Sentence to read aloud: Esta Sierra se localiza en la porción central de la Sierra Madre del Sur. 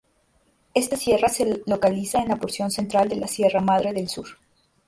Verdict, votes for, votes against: rejected, 0, 2